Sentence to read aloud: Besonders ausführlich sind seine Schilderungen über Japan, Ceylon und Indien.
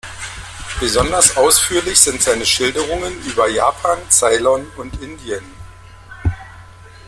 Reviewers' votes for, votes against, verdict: 0, 2, rejected